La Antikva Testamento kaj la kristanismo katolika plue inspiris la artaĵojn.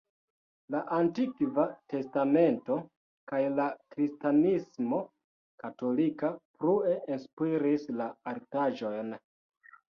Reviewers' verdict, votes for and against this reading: rejected, 1, 2